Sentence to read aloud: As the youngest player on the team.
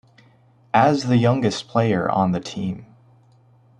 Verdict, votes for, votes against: accepted, 2, 0